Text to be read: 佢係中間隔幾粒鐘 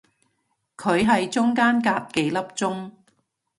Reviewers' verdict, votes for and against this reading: accepted, 2, 0